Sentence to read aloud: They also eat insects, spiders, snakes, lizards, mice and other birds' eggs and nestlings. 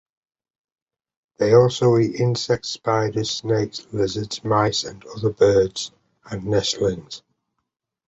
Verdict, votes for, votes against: rejected, 0, 2